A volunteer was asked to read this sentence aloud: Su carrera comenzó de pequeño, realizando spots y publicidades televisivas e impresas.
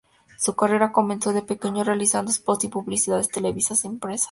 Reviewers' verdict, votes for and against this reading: rejected, 0, 4